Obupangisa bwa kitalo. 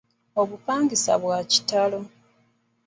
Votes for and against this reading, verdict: 2, 1, accepted